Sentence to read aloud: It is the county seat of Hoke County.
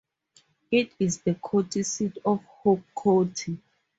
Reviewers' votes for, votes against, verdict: 0, 2, rejected